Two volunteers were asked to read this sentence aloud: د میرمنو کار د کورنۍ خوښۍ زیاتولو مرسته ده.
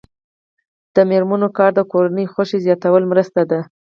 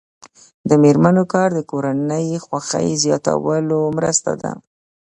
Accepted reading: second